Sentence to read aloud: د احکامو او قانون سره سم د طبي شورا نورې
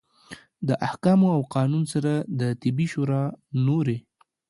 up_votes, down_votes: 1, 2